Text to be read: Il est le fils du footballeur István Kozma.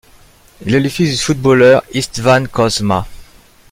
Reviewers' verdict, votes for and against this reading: rejected, 1, 2